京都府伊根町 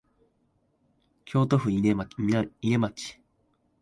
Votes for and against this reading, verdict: 1, 2, rejected